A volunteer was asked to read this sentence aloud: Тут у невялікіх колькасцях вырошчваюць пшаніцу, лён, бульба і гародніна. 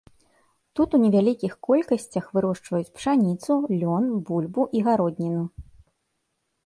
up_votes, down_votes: 1, 2